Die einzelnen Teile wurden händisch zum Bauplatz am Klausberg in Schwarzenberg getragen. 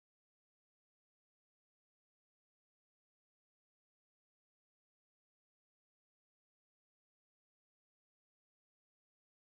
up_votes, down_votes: 0, 2